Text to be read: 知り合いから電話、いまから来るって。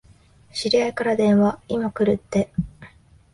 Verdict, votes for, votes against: rejected, 2, 6